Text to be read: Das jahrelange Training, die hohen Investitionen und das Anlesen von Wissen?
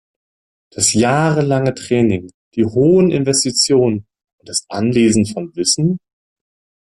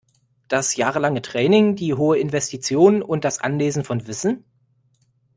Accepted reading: first